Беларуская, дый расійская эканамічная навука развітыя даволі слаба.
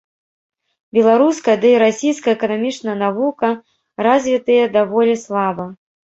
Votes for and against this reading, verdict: 2, 3, rejected